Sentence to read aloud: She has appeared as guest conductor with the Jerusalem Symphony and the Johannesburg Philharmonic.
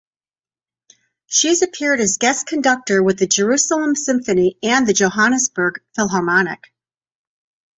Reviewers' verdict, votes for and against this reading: rejected, 3, 3